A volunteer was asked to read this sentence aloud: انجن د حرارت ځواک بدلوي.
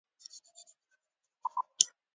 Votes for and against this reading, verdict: 0, 3, rejected